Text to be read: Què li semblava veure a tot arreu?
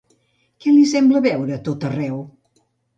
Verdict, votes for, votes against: rejected, 0, 2